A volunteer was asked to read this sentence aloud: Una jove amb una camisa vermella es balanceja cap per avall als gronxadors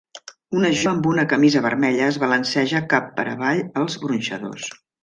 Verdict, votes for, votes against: rejected, 0, 2